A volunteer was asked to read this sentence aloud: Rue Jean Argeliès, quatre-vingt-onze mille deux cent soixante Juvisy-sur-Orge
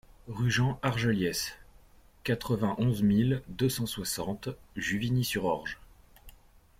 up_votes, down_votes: 0, 2